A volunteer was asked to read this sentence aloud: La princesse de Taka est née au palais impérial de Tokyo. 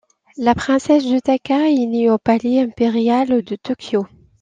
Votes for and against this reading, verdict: 2, 1, accepted